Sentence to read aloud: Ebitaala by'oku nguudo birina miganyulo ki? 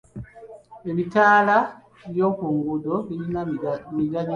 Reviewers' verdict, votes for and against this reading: rejected, 1, 2